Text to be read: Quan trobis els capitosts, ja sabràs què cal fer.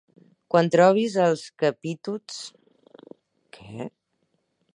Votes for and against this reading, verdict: 0, 4, rejected